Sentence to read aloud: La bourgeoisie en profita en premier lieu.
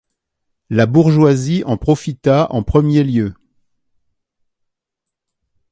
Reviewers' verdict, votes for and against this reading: accepted, 2, 1